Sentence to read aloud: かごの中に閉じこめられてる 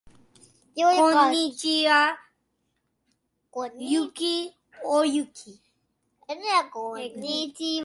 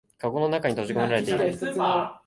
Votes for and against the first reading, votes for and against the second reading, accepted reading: 0, 2, 2, 0, second